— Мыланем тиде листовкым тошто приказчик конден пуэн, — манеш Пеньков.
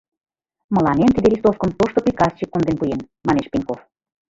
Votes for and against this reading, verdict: 0, 2, rejected